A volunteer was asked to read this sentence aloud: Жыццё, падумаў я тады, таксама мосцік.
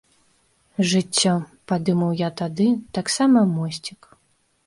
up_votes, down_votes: 2, 0